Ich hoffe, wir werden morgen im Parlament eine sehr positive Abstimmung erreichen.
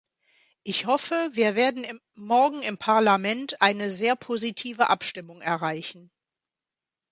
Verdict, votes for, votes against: rejected, 1, 2